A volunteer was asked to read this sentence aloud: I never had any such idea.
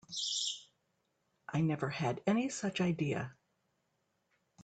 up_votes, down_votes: 3, 1